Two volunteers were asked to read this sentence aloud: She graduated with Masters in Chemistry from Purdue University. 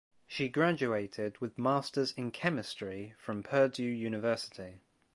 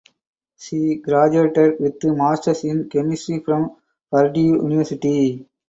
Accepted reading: first